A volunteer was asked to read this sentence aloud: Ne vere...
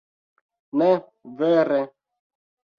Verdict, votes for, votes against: accepted, 2, 0